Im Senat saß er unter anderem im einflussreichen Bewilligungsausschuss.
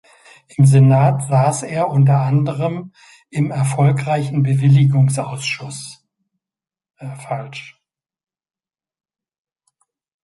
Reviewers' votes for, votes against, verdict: 0, 2, rejected